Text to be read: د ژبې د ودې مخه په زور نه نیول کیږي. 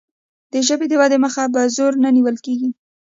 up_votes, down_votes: 1, 2